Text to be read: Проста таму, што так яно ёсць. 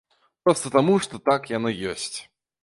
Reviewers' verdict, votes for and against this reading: accepted, 2, 0